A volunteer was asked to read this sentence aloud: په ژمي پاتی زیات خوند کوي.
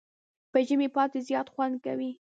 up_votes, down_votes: 1, 2